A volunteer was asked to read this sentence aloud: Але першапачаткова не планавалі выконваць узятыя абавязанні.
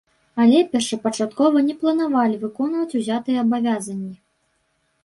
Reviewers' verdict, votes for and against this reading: rejected, 1, 2